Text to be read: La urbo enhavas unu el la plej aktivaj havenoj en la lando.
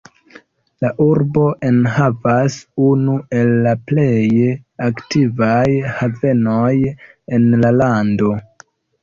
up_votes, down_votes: 0, 2